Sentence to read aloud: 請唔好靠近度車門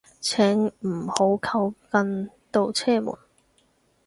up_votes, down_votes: 6, 0